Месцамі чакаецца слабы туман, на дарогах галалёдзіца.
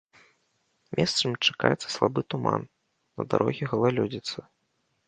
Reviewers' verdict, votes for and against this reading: rejected, 1, 2